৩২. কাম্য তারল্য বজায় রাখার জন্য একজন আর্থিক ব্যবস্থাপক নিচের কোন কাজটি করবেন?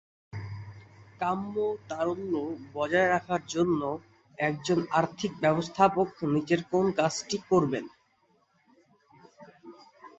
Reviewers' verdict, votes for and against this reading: rejected, 0, 2